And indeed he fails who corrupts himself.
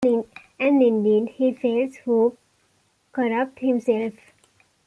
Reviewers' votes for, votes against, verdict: 1, 2, rejected